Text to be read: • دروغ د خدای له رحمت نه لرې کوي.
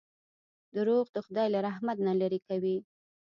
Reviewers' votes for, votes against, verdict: 2, 1, accepted